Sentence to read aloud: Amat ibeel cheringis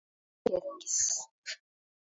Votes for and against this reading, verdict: 0, 2, rejected